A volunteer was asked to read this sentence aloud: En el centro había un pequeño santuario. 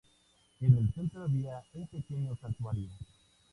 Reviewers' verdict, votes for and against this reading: accepted, 2, 0